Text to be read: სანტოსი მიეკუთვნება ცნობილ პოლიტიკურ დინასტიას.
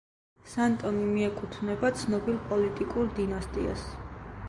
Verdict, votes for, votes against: rejected, 1, 2